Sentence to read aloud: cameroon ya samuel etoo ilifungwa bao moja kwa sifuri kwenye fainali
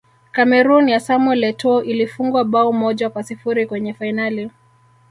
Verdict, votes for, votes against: rejected, 1, 2